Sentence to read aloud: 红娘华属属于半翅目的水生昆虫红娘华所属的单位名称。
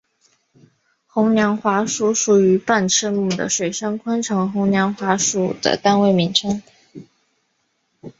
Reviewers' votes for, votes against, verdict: 1, 2, rejected